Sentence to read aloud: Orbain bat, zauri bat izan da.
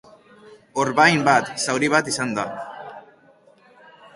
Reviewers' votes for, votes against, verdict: 2, 0, accepted